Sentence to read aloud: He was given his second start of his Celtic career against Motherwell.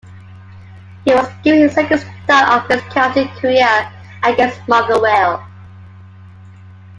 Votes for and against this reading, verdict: 1, 2, rejected